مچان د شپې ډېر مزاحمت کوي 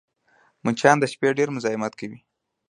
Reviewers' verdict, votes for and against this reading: accepted, 2, 0